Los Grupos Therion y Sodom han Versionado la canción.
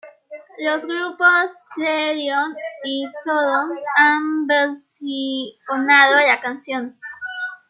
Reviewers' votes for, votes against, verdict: 2, 0, accepted